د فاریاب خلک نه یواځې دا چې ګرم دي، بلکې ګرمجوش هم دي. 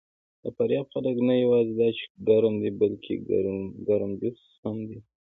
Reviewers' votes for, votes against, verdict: 0, 2, rejected